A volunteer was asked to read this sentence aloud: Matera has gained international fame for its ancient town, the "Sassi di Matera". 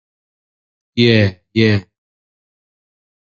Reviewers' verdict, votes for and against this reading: rejected, 0, 2